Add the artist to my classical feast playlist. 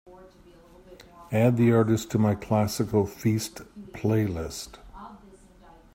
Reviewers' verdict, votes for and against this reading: accepted, 2, 0